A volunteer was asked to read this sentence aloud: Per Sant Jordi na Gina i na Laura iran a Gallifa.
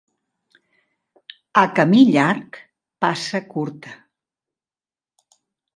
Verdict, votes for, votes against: rejected, 0, 2